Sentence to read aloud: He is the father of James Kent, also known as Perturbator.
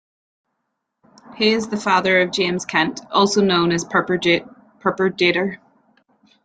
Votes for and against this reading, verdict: 0, 2, rejected